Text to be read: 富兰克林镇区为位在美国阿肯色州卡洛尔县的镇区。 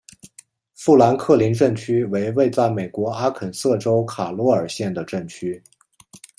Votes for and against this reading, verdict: 2, 0, accepted